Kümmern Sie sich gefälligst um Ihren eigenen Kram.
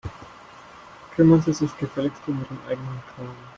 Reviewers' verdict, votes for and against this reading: rejected, 0, 2